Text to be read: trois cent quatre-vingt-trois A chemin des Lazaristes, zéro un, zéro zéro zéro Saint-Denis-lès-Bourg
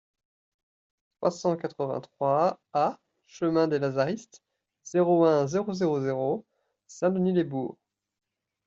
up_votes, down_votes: 1, 2